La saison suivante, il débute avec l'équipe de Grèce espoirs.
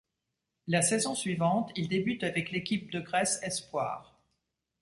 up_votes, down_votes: 2, 0